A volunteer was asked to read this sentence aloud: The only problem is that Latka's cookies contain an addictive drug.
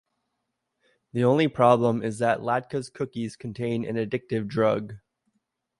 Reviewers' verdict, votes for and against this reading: accepted, 2, 0